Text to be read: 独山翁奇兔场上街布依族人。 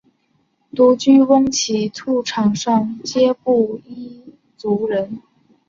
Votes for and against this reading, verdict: 3, 0, accepted